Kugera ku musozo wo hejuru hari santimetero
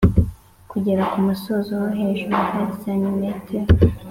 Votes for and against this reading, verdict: 3, 0, accepted